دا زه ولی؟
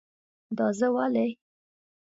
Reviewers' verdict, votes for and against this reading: accepted, 2, 0